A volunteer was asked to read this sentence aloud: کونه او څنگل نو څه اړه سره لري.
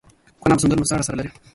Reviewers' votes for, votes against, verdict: 2, 0, accepted